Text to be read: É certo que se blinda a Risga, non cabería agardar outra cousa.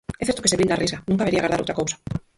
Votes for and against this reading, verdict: 0, 4, rejected